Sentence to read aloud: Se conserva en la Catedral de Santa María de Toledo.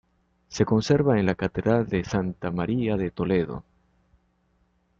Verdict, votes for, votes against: accepted, 2, 0